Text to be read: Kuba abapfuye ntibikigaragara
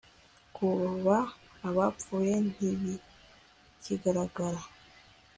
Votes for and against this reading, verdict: 2, 0, accepted